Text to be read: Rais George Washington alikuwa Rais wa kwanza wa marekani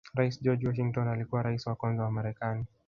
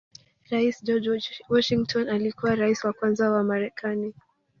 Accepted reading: first